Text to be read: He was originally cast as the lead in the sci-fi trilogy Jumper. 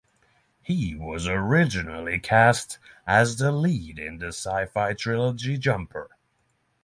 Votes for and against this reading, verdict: 3, 0, accepted